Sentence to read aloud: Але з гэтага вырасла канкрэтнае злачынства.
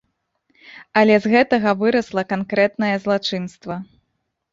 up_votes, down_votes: 2, 0